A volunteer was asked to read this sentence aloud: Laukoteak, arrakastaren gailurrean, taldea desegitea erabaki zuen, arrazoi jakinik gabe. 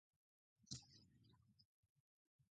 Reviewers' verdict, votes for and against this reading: rejected, 0, 2